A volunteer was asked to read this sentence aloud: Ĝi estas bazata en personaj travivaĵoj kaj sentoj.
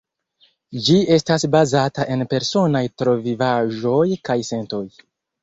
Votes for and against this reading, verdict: 0, 2, rejected